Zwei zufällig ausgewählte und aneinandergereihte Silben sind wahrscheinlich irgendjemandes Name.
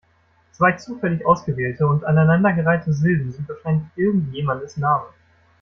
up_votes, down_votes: 0, 2